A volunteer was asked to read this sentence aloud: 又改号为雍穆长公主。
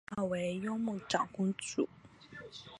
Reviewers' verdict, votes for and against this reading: rejected, 0, 2